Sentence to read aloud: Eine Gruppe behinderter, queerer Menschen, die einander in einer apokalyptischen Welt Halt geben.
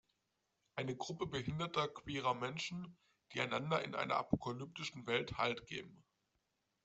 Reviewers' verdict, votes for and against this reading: accepted, 2, 0